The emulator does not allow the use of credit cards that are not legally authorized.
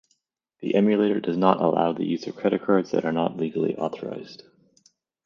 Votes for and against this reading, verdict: 2, 0, accepted